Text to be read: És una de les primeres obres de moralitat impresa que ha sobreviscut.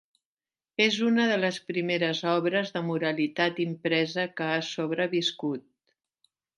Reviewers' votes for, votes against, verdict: 3, 0, accepted